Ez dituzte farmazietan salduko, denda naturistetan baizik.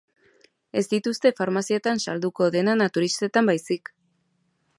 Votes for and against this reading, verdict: 5, 0, accepted